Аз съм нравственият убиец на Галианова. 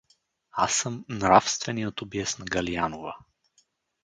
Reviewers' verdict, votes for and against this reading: accepted, 4, 0